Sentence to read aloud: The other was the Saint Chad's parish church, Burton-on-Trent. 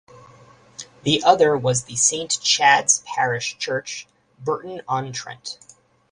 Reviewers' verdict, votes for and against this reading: accepted, 4, 0